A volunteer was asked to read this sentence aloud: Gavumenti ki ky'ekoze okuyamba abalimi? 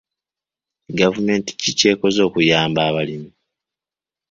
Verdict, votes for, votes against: accepted, 2, 0